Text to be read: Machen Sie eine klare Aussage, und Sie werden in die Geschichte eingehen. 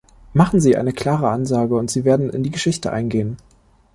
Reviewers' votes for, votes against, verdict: 1, 2, rejected